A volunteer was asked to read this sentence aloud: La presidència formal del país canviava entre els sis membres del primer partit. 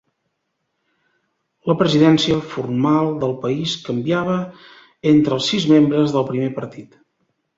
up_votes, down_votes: 3, 0